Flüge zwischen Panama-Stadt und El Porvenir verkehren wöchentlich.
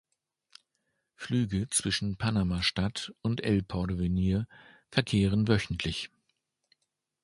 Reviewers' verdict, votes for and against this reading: accepted, 2, 0